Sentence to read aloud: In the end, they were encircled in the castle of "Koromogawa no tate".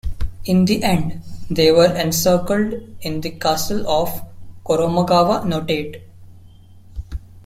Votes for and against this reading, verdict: 2, 3, rejected